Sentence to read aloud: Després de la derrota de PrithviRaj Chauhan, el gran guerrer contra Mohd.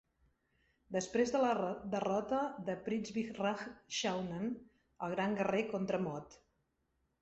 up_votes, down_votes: 1, 2